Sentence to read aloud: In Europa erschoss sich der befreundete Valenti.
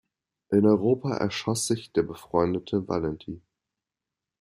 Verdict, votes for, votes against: accepted, 2, 0